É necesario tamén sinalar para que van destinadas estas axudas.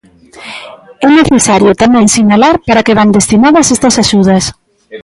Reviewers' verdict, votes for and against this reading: rejected, 1, 2